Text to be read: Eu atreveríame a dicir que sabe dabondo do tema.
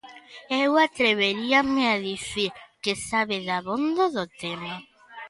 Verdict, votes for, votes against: accepted, 2, 0